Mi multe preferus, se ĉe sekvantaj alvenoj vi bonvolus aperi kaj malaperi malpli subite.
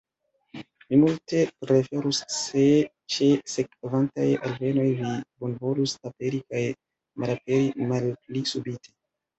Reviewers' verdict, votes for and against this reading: rejected, 1, 2